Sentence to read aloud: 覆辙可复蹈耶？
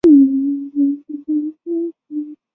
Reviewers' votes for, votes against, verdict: 0, 4, rejected